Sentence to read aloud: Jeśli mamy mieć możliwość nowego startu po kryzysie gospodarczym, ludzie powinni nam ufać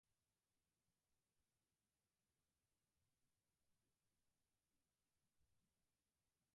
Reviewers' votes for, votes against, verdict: 0, 4, rejected